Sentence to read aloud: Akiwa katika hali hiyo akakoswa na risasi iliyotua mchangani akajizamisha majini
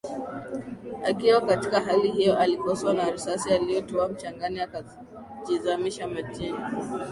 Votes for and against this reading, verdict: 2, 0, accepted